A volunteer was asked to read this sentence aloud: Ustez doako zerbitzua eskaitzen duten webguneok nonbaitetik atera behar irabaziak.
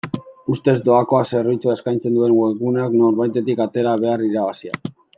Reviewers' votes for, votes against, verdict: 1, 2, rejected